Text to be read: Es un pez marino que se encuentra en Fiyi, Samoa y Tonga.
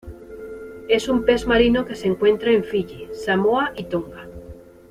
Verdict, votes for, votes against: accepted, 2, 0